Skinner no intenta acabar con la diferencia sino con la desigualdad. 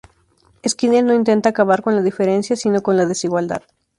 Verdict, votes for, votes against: accepted, 2, 0